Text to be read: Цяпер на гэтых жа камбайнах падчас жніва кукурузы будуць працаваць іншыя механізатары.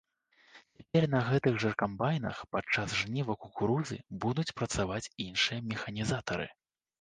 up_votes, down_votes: 2, 0